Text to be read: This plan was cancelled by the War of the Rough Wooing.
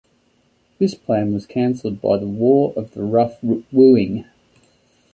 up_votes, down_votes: 1, 2